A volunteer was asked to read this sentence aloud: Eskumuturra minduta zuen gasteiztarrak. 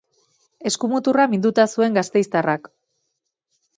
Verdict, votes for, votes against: accepted, 2, 0